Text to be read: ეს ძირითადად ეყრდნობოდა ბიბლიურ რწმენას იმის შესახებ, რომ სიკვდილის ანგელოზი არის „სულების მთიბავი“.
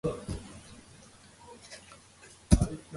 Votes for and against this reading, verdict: 1, 2, rejected